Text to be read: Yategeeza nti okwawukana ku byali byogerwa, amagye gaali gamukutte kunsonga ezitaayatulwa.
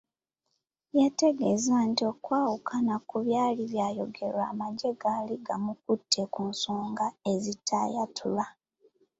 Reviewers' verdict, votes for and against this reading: accepted, 2, 0